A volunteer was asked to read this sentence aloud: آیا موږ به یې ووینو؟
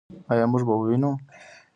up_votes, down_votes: 1, 2